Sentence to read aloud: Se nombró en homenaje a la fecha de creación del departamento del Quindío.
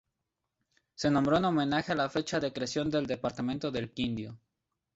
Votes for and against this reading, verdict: 0, 2, rejected